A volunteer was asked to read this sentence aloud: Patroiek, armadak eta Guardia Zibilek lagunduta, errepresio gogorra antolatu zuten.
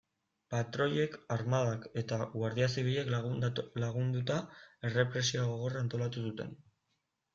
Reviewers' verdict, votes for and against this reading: rejected, 0, 2